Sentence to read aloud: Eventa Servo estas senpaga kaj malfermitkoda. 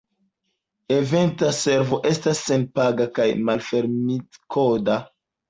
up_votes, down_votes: 2, 0